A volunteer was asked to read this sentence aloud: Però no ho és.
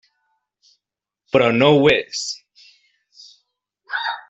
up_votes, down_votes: 3, 0